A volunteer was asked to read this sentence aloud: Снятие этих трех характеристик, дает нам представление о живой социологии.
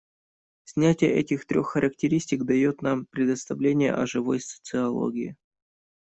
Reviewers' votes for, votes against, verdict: 1, 2, rejected